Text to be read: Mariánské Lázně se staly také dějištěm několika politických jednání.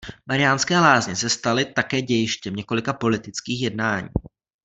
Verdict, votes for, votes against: accepted, 2, 0